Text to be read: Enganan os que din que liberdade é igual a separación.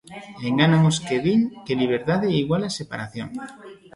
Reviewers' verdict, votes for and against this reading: rejected, 0, 2